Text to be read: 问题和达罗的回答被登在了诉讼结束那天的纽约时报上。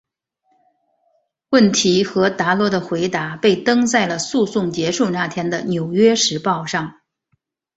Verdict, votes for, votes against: accepted, 2, 1